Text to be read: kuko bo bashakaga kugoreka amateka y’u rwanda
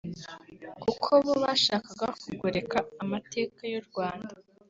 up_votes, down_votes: 0, 2